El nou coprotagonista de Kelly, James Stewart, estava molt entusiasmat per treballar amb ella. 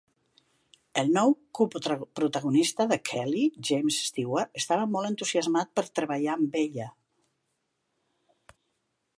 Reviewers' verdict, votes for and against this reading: rejected, 1, 2